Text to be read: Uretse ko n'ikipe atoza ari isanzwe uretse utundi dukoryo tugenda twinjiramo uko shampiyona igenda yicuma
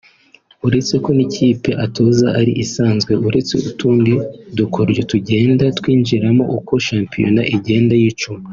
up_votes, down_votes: 3, 0